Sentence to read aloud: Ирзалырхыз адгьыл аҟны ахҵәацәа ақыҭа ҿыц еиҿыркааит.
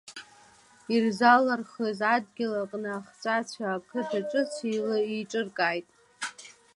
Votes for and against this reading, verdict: 2, 1, accepted